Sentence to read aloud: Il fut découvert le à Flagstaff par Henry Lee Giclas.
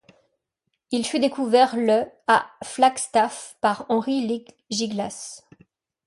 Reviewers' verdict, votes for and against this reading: rejected, 1, 2